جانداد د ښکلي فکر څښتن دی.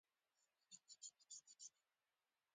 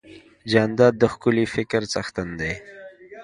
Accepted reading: second